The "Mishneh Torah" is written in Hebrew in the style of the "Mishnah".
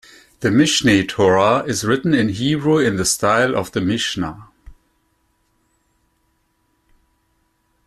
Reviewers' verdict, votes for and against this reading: accepted, 2, 0